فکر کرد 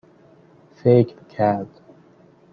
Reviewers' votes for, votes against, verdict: 2, 0, accepted